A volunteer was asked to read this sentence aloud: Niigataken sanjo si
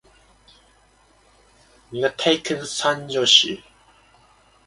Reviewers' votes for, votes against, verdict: 1, 2, rejected